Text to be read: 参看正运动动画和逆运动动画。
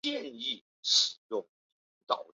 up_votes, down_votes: 1, 2